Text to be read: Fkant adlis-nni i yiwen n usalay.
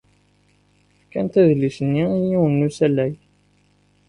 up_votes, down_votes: 2, 0